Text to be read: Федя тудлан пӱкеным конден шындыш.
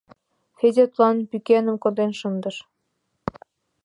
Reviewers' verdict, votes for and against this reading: accepted, 2, 0